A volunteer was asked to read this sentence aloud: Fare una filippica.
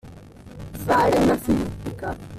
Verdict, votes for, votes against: rejected, 1, 2